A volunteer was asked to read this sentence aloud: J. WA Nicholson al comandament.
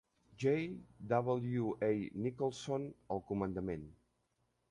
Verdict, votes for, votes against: rejected, 0, 2